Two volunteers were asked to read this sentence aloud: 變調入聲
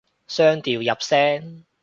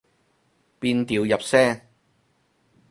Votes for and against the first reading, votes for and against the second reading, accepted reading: 0, 2, 4, 0, second